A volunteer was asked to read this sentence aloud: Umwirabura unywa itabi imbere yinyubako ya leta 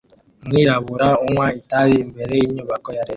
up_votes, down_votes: 2, 1